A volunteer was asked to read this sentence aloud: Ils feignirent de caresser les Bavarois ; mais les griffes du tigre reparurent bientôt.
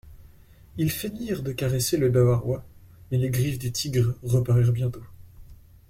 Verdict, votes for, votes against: rejected, 1, 2